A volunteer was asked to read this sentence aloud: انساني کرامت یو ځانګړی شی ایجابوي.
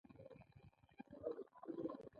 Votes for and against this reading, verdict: 1, 2, rejected